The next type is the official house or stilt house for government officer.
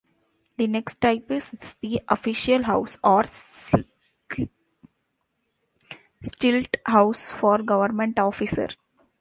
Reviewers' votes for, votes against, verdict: 0, 2, rejected